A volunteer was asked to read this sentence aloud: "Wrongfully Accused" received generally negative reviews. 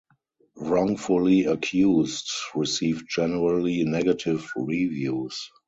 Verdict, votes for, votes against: accepted, 2, 0